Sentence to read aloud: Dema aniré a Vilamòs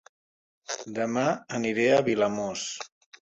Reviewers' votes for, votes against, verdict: 0, 2, rejected